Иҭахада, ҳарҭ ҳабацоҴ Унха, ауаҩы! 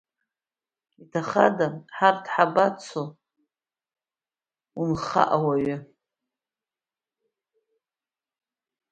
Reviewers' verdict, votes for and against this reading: rejected, 0, 2